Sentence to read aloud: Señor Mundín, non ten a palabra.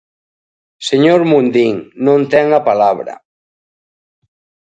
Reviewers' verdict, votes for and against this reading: accepted, 2, 0